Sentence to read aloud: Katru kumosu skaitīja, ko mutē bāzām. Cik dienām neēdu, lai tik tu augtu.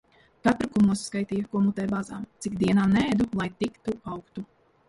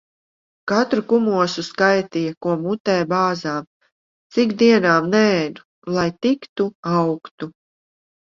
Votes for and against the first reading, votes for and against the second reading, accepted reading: 1, 2, 2, 0, second